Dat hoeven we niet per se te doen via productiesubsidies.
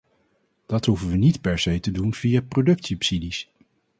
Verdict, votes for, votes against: rejected, 0, 4